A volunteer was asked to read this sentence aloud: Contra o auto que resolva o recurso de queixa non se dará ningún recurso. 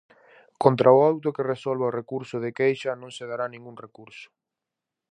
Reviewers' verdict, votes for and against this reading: accepted, 4, 0